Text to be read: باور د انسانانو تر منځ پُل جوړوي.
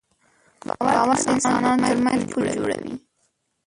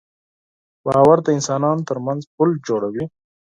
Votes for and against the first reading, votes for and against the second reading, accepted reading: 1, 2, 4, 0, second